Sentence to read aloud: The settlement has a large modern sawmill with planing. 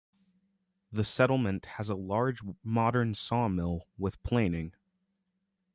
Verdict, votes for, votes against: accepted, 2, 1